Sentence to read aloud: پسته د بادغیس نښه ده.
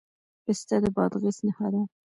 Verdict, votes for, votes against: rejected, 1, 2